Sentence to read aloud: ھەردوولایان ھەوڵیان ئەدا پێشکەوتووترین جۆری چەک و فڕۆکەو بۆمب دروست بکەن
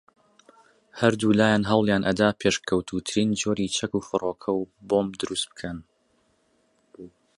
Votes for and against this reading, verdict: 2, 0, accepted